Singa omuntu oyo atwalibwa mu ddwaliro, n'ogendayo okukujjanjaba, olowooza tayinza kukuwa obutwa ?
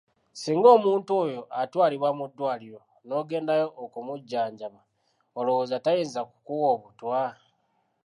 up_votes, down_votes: 1, 2